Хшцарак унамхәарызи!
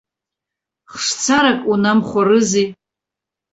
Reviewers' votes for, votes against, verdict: 1, 2, rejected